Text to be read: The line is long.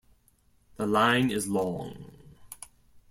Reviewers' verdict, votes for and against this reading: accepted, 2, 1